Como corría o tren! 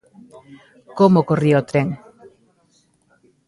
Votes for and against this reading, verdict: 1, 2, rejected